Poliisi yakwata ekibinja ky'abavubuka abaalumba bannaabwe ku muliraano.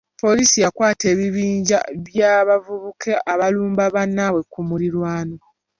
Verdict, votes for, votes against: rejected, 0, 2